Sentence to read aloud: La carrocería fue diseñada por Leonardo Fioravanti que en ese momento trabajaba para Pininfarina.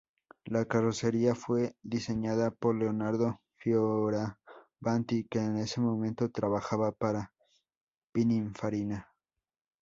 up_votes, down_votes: 0, 4